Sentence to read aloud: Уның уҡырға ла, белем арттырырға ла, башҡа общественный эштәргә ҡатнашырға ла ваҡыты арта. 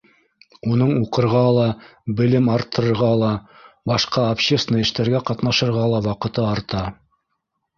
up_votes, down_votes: 1, 2